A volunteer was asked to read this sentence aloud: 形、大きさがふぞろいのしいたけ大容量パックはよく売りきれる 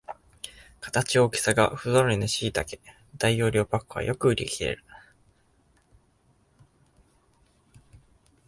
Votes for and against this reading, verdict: 2, 0, accepted